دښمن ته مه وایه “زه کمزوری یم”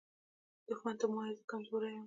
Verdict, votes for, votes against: accepted, 2, 1